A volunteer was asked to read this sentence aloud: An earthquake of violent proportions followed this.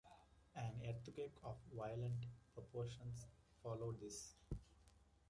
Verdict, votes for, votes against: accepted, 2, 1